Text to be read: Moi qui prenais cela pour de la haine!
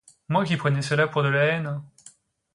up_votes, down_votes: 2, 0